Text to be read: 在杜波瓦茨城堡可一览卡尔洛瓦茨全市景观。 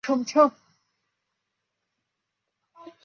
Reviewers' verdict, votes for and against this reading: rejected, 0, 2